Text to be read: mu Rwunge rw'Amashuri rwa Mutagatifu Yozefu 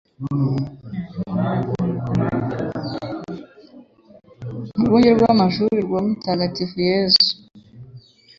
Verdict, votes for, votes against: rejected, 1, 2